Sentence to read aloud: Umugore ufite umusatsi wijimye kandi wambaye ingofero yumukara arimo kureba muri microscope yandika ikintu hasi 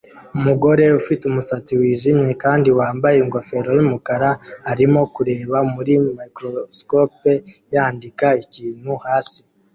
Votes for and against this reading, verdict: 2, 0, accepted